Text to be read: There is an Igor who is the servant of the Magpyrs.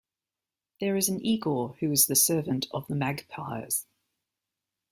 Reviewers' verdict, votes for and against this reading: accepted, 2, 1